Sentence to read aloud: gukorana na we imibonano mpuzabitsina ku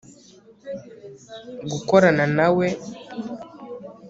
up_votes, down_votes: 1, 2